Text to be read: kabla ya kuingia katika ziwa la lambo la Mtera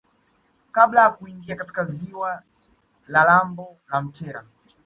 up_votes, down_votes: 2, 0